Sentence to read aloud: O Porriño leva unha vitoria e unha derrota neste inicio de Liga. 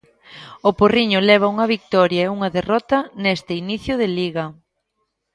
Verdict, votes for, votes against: rejected, 2, 3